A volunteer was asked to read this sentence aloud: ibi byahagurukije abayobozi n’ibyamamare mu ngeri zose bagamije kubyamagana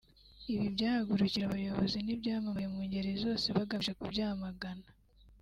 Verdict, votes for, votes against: rejected, 0, 2